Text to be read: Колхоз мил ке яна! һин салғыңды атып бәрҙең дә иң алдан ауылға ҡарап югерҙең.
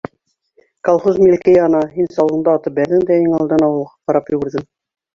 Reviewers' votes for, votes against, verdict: 0, 2, rejected